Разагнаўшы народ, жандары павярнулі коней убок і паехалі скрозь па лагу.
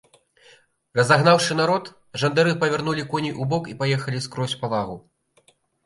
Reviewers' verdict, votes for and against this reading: accepted, 2, 0